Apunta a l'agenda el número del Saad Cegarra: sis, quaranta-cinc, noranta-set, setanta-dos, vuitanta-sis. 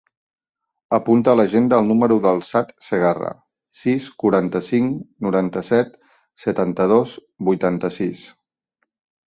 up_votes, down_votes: 4, 0